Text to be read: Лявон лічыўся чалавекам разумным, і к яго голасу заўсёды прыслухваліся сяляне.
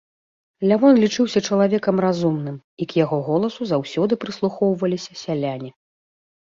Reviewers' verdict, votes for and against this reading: rejected, 1, 2